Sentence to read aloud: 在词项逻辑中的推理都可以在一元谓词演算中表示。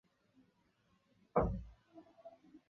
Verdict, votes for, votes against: rejected, 0, 2